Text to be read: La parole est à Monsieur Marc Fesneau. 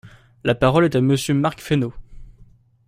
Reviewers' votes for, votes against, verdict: 2, 0, accepted